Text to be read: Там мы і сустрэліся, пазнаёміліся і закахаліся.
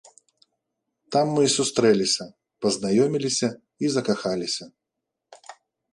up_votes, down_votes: 2, 0